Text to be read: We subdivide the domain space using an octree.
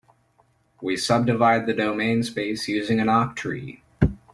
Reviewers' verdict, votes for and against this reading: accepted, 3, 0